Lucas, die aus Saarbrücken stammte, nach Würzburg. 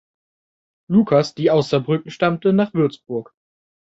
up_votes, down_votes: 2, 0